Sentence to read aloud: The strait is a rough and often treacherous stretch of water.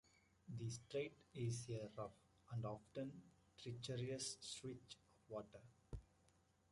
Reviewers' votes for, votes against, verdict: 1, 2, rejected